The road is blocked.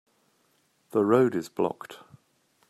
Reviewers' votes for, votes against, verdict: 3, 0, accepted